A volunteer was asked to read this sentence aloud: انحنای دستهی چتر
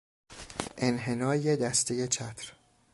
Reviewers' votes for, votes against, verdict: 2, 0, accepted